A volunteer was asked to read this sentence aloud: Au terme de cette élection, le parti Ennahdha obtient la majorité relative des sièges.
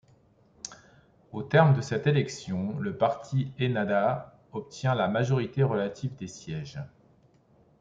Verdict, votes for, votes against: accepted, 2, 0